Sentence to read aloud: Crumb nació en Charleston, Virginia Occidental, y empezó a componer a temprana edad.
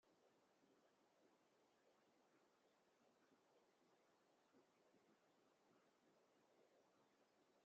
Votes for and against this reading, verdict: 0, 2, rejected